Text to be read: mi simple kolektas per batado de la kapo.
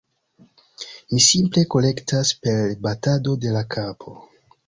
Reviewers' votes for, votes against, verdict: 1, 2, rejected